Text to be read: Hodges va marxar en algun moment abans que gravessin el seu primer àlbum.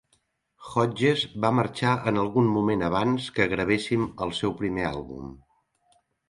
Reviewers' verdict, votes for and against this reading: accepted, 3, 0